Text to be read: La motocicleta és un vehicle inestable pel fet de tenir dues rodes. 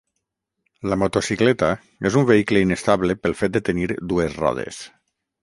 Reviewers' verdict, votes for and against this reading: rejected, 3, 3